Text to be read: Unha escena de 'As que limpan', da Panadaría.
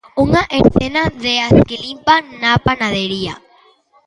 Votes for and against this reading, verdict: 0, 2, rejected